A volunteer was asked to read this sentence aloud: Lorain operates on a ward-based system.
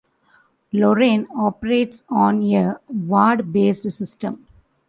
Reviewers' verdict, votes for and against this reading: rejected, 1, 2